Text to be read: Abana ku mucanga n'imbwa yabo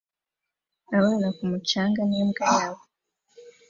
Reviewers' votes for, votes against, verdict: 2, 0, accepted